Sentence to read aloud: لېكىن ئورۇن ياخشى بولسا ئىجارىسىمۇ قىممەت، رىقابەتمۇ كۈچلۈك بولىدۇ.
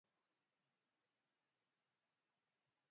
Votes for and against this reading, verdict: 0, 2, rejected